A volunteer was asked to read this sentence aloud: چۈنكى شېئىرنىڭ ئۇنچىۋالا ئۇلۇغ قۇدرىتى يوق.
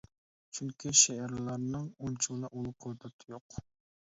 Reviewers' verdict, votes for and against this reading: rejected, 0, 2